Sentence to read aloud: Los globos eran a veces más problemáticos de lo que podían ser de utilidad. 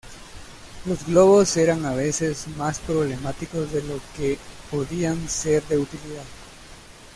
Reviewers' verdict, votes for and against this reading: accepted, 2, 0